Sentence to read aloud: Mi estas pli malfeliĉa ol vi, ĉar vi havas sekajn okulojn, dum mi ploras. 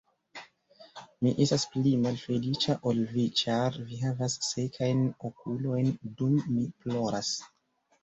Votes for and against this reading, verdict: 2, 1, accepted